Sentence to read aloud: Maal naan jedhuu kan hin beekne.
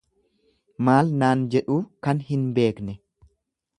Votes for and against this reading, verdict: 2, 0, accepted